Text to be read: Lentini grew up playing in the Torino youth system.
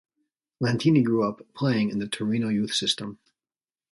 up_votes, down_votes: 2, 0